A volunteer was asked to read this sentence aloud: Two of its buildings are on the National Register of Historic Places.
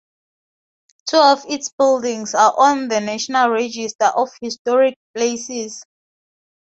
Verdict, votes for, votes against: accepted, 2, 0